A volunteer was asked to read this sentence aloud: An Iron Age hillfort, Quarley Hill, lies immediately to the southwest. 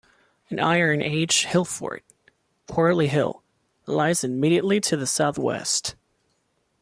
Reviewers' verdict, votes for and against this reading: accepted, 2, 0